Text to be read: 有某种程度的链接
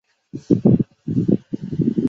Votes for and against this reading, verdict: 0, 3, rejected